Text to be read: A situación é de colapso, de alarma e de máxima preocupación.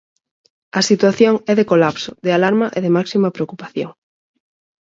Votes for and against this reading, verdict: 4, 0, accepted